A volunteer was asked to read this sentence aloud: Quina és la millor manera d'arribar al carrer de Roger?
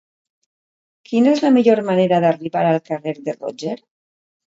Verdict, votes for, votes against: accepted, 2, 0